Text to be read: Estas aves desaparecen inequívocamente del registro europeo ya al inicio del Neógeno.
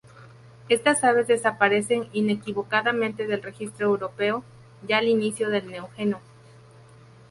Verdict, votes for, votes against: rejected, 0, 2